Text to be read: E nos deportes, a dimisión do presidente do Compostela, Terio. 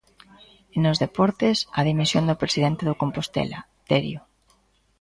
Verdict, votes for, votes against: accepted, 2, 0